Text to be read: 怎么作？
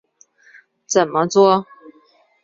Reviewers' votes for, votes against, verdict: 3, 1, accepted